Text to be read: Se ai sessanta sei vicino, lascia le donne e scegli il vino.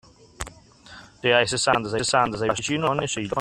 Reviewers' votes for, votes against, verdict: 0, 2, rejected